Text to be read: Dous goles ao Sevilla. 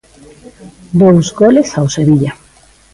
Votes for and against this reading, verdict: 2, 0, accepted